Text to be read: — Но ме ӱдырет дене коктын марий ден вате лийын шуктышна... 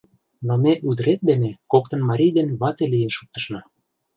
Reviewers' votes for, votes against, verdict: 0, 2, rejected